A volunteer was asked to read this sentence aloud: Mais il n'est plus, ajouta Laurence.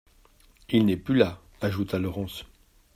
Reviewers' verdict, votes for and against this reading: rejected, 1, 2